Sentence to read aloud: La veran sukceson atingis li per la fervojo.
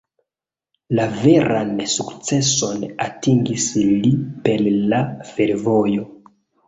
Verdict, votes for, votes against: accepted, 2, 0